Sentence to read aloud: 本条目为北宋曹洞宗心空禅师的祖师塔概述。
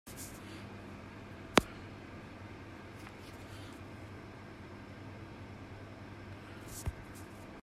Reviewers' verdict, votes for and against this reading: rejected, 0, 2